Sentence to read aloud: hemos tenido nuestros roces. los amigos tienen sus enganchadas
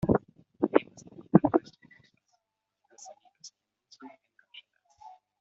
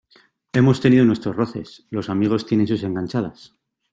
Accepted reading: second